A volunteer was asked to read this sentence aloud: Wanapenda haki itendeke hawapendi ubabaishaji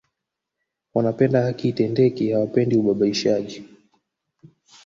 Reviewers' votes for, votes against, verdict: 0, 2, rejected